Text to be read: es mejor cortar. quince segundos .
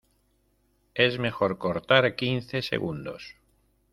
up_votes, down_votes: 0, 2